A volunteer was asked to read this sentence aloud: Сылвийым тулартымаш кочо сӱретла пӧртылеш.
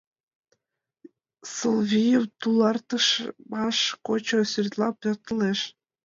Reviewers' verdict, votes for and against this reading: rejected, 0, 2